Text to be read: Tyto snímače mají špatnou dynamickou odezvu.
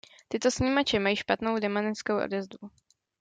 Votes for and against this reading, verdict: 0, 2, rejected